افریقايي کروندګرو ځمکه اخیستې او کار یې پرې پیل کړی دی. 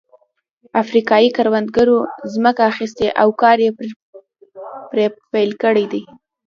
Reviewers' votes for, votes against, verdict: 2, 0, accepted